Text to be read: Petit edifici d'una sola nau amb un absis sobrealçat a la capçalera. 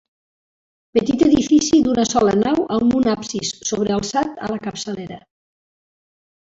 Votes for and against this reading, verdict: 3, 0, accepted